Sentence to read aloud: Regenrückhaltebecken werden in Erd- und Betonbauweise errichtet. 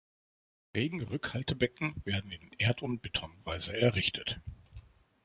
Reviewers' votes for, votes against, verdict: 0, 2, rejected